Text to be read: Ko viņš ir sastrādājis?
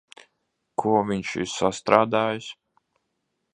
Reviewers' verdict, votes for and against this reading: accepted, 2, 1